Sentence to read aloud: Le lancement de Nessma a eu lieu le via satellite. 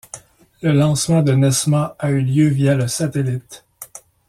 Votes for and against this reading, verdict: 0, 2, rejected